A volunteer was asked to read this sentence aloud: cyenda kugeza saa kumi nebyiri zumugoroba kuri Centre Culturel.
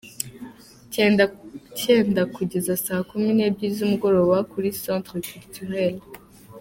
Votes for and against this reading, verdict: 0, 2, rejected